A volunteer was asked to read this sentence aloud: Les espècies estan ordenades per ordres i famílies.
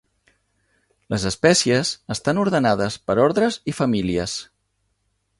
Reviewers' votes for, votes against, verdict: 4, 0, accepted